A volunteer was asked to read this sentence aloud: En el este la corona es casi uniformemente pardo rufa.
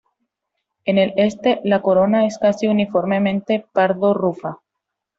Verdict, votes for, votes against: accepted, 2, 0